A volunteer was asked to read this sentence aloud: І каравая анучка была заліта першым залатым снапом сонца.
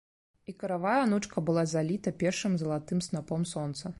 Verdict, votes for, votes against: rejected, 0, 2